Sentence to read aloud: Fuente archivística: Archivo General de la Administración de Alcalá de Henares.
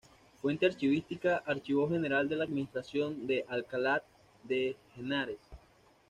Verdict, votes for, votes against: rejected, 1, 2